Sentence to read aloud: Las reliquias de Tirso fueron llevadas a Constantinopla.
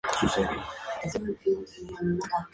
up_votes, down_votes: 2, 0